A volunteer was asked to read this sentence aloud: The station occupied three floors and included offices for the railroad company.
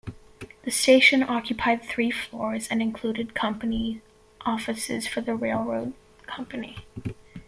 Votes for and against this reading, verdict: 1, 2, rejected